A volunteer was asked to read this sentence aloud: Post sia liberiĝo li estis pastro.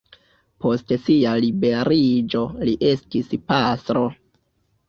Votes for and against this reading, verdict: 2, 1, accepted